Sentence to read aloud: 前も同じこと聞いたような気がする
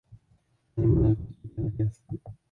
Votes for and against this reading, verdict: 0, 4, rejected